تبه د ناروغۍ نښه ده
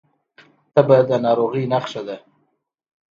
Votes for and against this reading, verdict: 2, 0, accepted